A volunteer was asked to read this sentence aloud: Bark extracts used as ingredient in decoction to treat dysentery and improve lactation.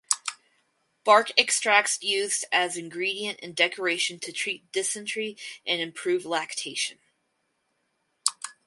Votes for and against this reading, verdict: 2, 2, rejected